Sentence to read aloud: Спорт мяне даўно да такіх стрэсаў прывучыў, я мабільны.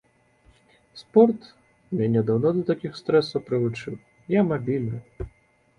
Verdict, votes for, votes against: accepted, 2, 0